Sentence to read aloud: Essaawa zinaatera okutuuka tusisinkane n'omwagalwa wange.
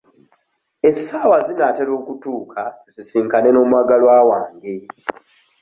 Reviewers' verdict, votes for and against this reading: accepted, 3, 1